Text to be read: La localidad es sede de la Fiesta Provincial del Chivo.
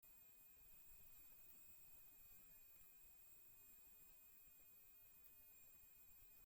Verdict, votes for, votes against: rejected, 0, 2